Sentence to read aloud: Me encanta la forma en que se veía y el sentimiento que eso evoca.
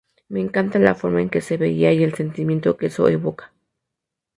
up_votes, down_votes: 2, 0